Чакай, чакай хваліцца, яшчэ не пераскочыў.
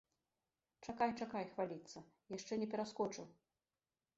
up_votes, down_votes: 2, 0